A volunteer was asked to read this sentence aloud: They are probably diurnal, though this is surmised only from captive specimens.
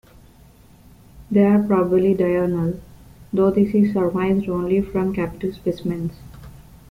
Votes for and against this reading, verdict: 2, 0, accepted